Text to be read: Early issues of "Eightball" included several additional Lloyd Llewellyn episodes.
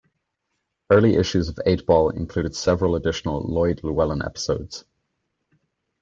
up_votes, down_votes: 1, 2